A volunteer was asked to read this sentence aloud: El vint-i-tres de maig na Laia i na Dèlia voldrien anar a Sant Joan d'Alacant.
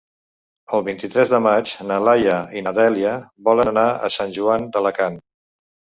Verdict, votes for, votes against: rejected, 1, 2